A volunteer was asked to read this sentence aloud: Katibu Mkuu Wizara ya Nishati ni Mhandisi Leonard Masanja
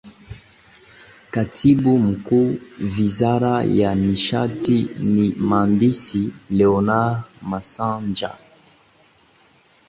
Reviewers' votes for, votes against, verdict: 1, 2, rejected